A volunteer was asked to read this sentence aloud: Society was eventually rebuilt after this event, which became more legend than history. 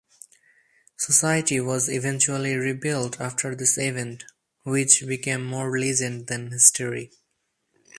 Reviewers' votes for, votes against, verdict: 0, 4, rejected